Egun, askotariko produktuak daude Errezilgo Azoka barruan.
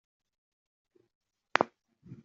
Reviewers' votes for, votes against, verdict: 0, 2, rejected